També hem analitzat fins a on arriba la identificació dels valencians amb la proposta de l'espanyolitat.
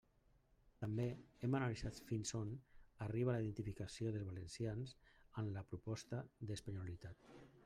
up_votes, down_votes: 1, 2